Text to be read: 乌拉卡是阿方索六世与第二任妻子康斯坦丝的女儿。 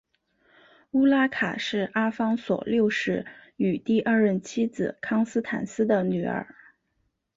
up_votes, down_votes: 2, 0